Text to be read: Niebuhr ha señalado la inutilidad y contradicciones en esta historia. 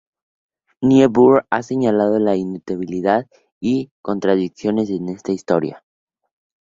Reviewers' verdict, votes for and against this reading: accepted, 4, 0